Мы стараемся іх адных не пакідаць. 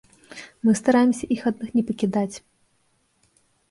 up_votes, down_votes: 2, 0